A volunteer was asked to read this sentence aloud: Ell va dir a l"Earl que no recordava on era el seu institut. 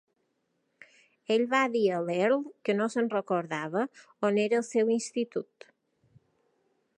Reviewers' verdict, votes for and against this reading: rejected, 2, 3